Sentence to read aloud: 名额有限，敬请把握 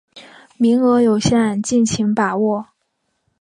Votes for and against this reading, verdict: 2, 1, accepted